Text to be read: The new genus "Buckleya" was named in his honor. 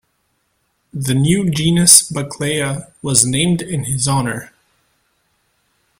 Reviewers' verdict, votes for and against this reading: accepted, 2, 0